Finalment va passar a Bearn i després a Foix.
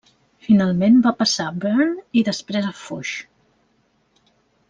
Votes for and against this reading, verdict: 1, 2, rejected